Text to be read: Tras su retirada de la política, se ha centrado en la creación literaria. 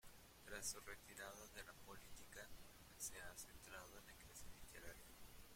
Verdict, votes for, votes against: rejected, 0, 2